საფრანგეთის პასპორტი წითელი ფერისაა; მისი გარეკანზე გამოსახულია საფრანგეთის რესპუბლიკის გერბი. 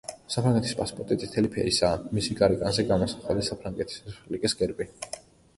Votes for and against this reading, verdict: 2, 1, accepted